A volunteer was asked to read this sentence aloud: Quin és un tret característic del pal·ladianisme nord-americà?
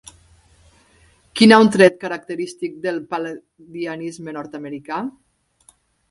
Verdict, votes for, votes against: rejected, 0, 2